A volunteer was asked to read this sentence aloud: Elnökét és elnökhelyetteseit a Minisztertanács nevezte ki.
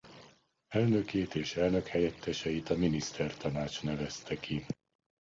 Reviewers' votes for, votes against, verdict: 2, 0, accepted